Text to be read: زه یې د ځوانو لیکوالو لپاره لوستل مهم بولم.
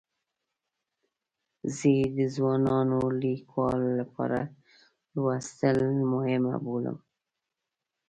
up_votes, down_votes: 2, 0